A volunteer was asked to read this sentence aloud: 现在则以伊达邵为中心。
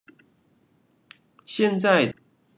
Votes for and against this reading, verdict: 0, 2, rejected